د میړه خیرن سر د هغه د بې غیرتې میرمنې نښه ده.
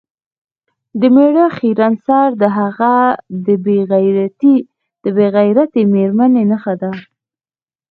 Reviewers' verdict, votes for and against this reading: rejected, 1, 2